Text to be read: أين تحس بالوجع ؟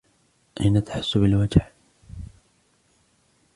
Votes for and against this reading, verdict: 1, 2, rejected